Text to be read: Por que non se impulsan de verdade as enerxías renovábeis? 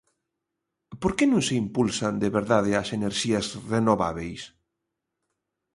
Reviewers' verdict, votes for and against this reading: accepted, 2, 0